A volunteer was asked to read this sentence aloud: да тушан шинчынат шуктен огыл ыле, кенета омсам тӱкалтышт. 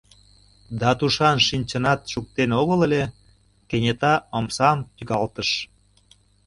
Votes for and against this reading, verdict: 0, 2, rejected